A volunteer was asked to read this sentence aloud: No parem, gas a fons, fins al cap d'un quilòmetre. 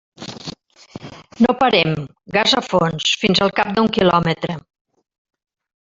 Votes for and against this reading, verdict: 1, 2, rejected